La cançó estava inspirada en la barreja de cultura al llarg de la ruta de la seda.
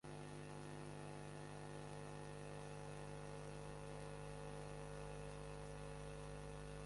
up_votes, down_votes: 0, 2